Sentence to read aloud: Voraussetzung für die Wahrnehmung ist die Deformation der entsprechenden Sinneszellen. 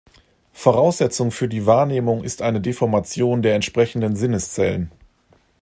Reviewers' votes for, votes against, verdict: 0, 2, rejected